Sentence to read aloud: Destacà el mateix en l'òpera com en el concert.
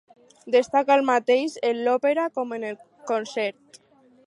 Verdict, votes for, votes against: rejected, 2, 2